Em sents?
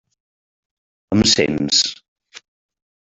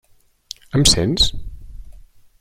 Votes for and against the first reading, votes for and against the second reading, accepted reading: 0, 2, 3, 0, second